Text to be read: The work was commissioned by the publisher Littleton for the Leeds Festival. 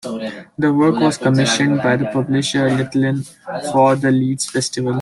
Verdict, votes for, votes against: rejected, 0, 2